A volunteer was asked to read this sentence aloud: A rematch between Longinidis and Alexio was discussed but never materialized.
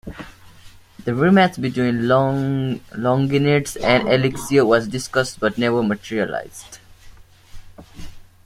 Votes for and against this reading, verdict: 0, 2, rejected